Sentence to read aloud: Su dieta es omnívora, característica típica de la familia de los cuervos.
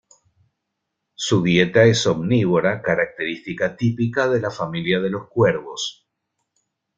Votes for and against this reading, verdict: 2, 0, accepted